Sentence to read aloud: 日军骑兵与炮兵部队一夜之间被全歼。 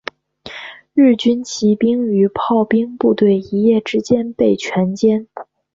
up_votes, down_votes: 2, 0